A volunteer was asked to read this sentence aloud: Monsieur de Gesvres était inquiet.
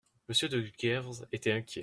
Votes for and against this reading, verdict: 1, 2, rejected